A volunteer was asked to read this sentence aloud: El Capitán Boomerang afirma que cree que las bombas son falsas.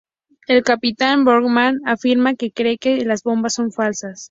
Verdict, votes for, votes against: accepted, 2, 0